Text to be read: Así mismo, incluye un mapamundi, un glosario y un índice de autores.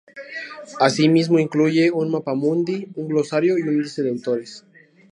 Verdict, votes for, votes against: rejected, 2, 2